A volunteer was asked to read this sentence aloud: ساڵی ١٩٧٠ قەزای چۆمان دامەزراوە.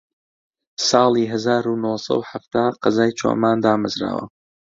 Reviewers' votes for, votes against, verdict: 0, 2, rejected